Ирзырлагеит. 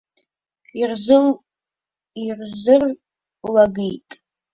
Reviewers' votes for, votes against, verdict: 0, 2, rejected